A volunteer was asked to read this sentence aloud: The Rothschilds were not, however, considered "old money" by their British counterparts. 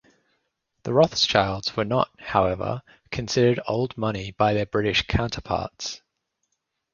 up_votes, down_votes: 2, 0